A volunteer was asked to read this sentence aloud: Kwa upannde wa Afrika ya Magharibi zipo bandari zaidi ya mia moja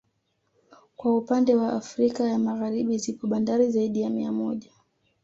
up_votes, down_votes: 2, 0